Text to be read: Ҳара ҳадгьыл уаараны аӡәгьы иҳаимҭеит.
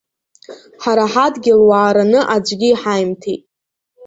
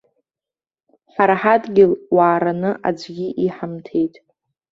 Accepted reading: first